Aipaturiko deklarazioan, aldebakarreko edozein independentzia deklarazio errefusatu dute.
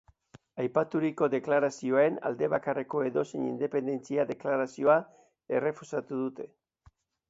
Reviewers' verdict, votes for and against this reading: rejected, 2, 2